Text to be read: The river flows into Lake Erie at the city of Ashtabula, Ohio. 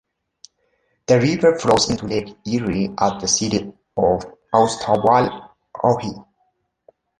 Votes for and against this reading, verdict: 0, 2, rejected